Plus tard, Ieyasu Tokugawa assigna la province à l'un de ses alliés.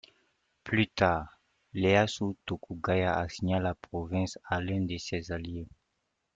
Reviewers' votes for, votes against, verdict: 2, 1, accepted